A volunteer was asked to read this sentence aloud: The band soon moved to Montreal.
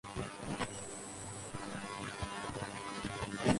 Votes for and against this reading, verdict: 0, 4, rejected